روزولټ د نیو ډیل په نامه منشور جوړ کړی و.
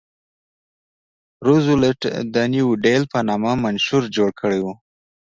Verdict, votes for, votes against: rejected, 1, 2